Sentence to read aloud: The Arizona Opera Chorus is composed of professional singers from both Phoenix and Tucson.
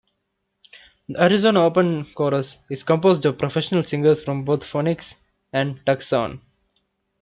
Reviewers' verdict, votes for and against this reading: rejected, 0, 2